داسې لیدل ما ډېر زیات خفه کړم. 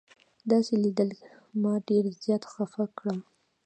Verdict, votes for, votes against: accepted, 2, 1